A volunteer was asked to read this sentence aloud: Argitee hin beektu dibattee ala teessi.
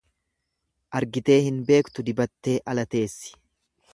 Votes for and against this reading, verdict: 2, 0, accepted